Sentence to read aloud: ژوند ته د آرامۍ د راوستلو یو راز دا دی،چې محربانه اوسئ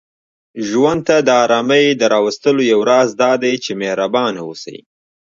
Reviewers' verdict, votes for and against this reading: rejected, 1, 2